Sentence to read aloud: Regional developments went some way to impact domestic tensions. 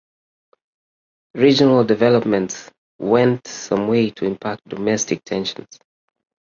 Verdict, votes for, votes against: accepted, 2, 1